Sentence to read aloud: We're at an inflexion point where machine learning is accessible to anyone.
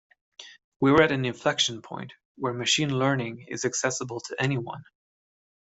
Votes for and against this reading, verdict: 2, 0, accepted